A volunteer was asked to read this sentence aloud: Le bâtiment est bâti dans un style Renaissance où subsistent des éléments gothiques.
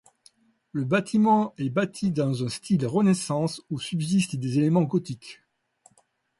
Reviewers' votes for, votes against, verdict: 2, 0, accepted